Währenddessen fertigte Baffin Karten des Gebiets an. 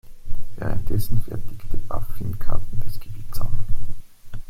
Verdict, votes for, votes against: accepted, 2, 1